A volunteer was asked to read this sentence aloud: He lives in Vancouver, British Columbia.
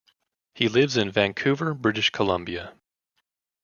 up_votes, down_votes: 2, 0